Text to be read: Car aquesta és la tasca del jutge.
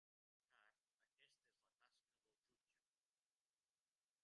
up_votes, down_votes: 0, 2